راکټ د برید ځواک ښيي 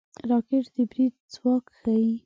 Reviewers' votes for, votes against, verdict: 2, 0, accepted